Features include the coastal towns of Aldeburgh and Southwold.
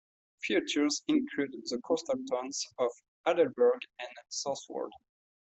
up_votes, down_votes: 2, 0